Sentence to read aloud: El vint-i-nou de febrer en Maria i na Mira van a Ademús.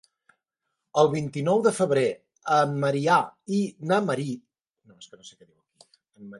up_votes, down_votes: 0, 3